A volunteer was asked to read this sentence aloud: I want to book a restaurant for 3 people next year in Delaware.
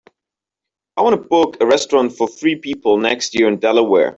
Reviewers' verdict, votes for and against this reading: rejected, 0, 2